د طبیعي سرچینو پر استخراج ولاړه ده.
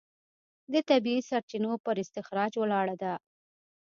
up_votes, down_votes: 2, 0